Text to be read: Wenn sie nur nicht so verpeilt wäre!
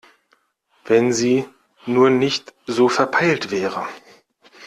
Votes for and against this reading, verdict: 2, 0, accepted